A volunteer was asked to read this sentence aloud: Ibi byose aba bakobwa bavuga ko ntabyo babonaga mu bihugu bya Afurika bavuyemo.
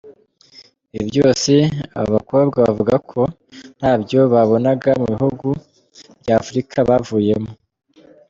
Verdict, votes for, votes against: accepted, 2, 0